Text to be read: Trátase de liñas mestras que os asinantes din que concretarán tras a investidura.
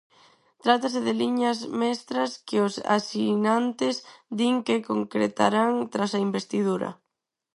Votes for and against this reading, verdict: 0, 4, rejected